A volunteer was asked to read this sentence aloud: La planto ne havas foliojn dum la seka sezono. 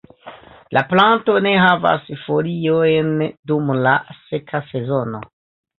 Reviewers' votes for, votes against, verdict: 2, 0, accepted